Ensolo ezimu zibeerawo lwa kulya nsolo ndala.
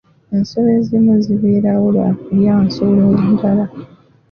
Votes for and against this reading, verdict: 2, 0, accepted